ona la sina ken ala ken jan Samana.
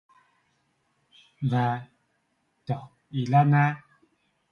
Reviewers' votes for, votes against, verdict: 0, 2, rejected